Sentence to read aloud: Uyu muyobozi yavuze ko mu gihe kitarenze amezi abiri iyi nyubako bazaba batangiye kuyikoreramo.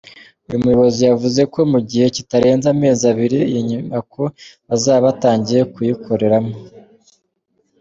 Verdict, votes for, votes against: accepted, 2, 0